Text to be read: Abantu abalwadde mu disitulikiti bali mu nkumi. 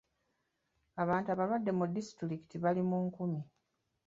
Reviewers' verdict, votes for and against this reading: accepted, 2, 0